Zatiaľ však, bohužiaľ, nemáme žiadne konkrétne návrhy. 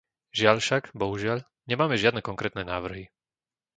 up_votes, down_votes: 1, 2